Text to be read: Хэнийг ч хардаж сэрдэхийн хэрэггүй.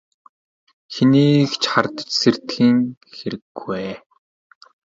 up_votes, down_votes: 2, 0